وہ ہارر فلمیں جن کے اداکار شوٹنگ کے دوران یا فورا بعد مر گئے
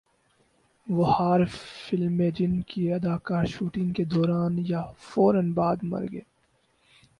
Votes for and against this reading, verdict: 2, 2, rejected